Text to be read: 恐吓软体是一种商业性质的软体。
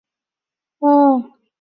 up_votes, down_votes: 1, 5